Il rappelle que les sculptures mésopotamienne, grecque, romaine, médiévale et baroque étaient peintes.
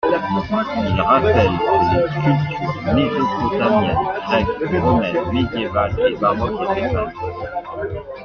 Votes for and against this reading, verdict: 0, 2, rejected